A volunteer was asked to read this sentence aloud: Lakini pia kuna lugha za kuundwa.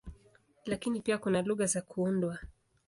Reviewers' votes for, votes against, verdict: 2, 0, accepted